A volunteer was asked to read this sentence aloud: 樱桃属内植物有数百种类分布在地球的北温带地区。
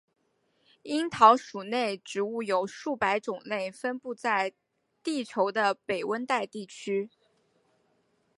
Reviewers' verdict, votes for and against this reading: accepted, 3, 1